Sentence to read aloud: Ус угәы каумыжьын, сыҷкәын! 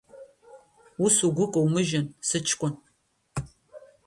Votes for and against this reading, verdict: 1, 2, rejected